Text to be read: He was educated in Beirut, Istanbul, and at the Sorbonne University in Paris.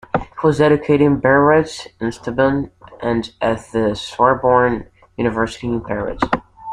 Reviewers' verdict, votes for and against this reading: rejected, 0, 2